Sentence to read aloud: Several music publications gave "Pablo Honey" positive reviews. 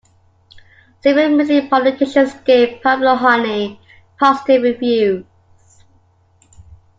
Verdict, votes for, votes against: rejected, 0, 2